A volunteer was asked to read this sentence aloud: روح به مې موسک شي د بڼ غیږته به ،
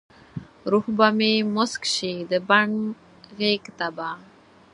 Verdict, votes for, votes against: accepted, 4, 0